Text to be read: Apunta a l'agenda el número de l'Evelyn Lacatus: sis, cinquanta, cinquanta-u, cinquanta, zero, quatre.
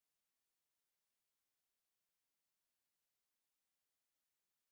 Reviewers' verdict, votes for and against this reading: rejected, 0, 2